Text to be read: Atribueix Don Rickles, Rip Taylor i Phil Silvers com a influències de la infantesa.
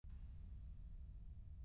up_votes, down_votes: 0, 2